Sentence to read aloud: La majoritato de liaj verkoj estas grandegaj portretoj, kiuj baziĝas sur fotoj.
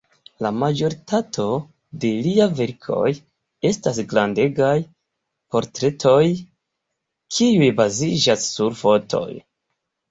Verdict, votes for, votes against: rejected, 1, 2